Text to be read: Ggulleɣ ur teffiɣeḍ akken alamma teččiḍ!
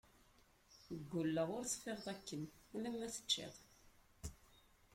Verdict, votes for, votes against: rejected, 0, 2